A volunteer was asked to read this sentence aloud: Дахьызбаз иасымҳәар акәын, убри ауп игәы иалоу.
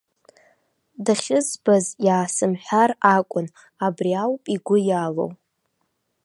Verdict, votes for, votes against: rejected, 0, 2